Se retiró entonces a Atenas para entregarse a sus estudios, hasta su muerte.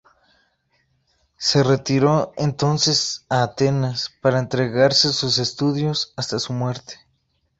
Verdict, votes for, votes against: accepted, 2, 0